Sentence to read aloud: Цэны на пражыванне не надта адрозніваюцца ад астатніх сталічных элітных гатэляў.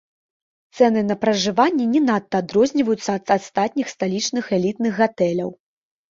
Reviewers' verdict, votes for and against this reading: accepted, 2, 0